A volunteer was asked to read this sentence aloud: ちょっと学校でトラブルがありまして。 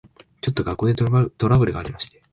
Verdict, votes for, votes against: rejected, 1, 2